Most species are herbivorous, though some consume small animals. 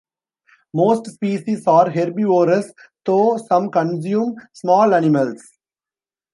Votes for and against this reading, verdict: 2, 3, rejected